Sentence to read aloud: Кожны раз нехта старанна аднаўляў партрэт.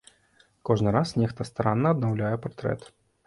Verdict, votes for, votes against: accepted, 2, 0